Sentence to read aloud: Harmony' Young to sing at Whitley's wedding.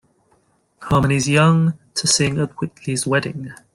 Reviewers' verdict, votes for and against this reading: rejected, 0, 2